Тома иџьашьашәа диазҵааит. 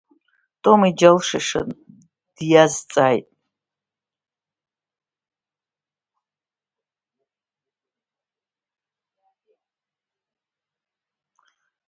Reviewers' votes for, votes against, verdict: 0, 2, rejected